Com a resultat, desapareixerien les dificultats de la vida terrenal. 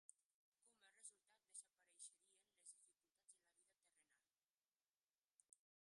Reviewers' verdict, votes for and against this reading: rejected, 0, 2